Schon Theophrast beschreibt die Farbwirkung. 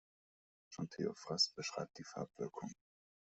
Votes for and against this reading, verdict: 2, 0, accepted